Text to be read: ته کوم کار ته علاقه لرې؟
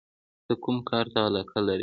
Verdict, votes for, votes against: accepted, 2, 1